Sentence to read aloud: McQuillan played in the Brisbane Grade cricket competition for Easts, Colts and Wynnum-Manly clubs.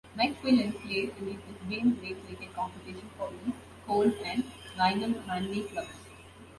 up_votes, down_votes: 1, 3